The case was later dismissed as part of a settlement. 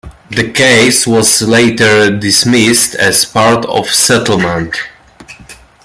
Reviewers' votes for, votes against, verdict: 1, 2, rejected